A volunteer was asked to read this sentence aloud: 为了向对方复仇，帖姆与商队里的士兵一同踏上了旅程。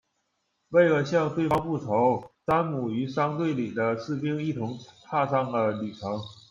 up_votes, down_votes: 0, 2